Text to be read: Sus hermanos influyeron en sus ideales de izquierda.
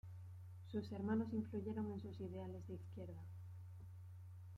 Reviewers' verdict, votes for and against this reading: accepted, 2, 1